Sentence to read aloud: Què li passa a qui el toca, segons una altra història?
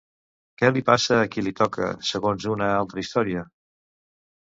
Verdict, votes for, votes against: rejected, 1, 2